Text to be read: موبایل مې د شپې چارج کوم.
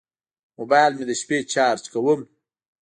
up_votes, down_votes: 2, 0